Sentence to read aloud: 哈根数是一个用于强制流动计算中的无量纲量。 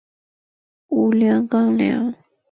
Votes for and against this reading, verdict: 0, 2, rejected